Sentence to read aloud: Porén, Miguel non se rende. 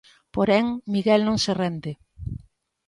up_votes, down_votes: 2, 0